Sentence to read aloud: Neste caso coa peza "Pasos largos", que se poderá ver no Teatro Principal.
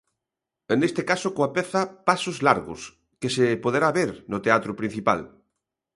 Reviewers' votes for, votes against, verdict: 1, 2, rejected